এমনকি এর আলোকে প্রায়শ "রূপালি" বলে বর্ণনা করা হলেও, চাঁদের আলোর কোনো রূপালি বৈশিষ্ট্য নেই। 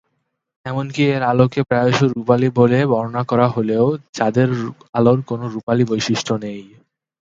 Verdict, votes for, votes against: accepted, 12, 10